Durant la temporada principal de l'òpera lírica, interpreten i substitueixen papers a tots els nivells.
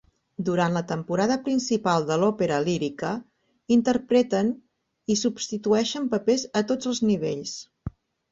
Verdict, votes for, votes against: accepted, 4, 0